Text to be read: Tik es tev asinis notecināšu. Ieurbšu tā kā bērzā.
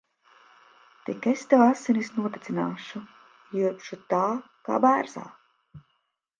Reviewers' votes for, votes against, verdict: 0, 2, rejected